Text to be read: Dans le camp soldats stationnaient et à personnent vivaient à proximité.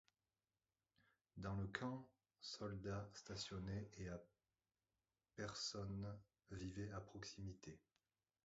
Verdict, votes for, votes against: rejected, 0, 2